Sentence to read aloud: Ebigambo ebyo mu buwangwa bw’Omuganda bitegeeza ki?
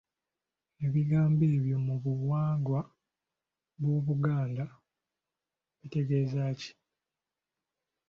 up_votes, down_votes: 0, 2